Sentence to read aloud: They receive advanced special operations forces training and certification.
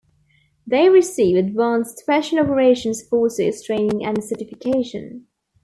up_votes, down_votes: 2, 0